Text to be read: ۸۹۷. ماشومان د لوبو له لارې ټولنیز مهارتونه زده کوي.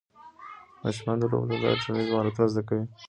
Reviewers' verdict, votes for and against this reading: rejected, 0, 2